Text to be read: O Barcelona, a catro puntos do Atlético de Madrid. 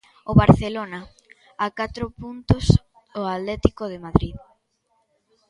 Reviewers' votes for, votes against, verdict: 0, 2, rejected